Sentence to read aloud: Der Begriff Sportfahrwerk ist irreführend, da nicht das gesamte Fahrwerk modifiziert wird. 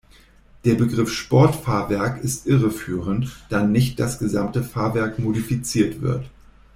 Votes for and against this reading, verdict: 2, 0, accepted